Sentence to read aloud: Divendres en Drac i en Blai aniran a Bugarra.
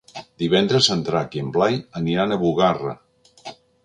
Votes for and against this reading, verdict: 3, 0, accepted